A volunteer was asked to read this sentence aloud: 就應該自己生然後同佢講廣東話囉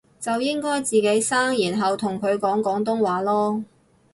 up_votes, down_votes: 4, 0